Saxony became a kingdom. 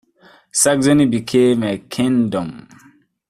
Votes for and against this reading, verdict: 1, 2, rejected